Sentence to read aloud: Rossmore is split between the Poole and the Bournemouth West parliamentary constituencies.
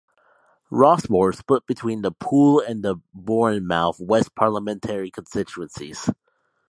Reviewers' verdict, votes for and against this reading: accepted, 2, 0